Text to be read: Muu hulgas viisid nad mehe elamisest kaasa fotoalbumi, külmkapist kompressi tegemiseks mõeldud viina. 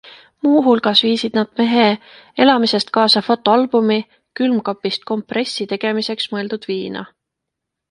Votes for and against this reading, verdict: 2, 0, accepted